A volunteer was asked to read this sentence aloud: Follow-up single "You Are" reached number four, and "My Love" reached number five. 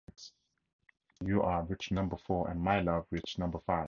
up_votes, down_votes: 0, 2